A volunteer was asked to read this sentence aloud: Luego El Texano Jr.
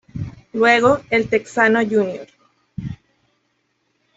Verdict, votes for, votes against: accepted, 2, 1